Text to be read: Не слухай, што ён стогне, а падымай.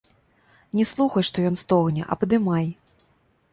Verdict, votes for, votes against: accepted, 2, 0